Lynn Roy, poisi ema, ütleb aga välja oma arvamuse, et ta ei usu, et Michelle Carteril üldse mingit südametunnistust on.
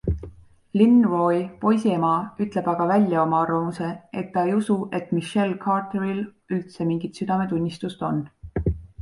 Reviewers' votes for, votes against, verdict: 2, 0, accepted